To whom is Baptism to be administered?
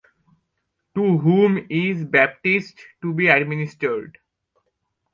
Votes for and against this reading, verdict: 0, 2, rejected